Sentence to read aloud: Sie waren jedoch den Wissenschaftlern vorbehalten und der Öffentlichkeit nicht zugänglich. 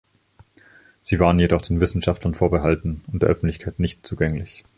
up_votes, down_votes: 3, 2